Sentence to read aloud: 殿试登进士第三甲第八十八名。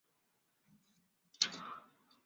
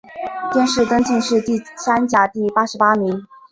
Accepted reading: second